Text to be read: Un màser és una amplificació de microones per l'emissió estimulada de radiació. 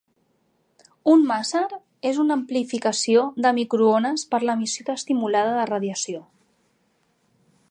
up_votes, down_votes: 2, 1